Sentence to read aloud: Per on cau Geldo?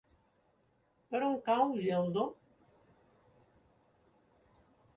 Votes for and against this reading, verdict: 2, 0, accepted